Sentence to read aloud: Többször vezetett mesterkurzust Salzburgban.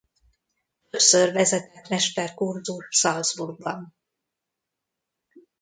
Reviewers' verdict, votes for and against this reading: rejected, 1, 2